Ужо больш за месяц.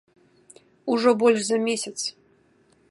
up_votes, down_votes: 2, 0